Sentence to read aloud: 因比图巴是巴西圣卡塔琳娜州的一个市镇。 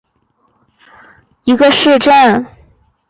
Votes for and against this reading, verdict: 0, 4, rejected